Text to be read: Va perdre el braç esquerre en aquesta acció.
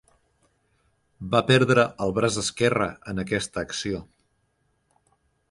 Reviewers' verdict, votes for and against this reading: accepted, 4, 0